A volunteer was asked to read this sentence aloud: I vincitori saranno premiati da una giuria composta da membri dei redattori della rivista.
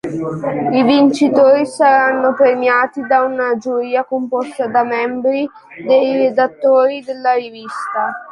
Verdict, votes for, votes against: rejected, 0, 2